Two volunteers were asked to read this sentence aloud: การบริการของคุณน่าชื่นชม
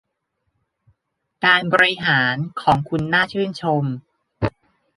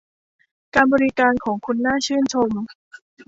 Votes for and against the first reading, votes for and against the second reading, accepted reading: 0, 2, 2, 0, second